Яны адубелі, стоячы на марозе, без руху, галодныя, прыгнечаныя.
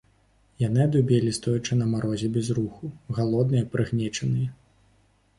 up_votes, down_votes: 2, 0